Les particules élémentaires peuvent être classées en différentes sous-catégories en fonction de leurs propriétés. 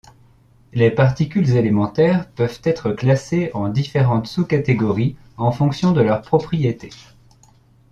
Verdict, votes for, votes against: accepted, 2, 0